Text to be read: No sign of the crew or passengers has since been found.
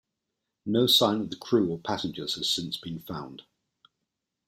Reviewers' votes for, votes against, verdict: 2, 0, accepted